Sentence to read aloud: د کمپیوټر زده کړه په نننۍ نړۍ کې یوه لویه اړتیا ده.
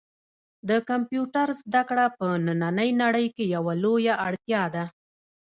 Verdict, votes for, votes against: rejected, 0, 2